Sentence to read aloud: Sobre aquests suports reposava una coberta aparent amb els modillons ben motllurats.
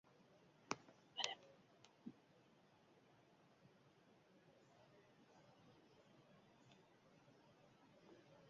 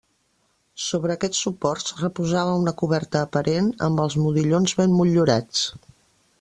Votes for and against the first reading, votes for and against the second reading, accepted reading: 0, 2, 2, 0, second